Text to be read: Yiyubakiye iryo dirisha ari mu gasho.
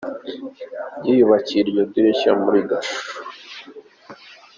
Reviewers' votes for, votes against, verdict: 0, 3, rejected